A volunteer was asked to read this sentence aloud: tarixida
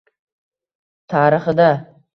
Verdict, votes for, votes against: rejected, 1, 2